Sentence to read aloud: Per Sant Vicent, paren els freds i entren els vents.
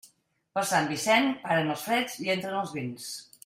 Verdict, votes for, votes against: accepted, 2, 0